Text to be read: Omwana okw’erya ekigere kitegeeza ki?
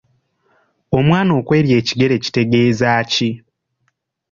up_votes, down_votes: 2, 0